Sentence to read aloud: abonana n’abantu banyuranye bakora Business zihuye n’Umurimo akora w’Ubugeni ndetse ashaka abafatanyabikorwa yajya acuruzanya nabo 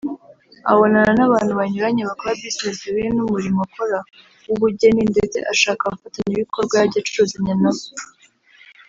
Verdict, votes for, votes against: accepted, 2, 0